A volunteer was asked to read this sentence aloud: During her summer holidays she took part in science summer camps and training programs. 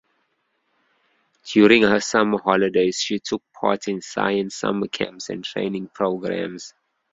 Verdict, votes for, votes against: accepted, 2, 1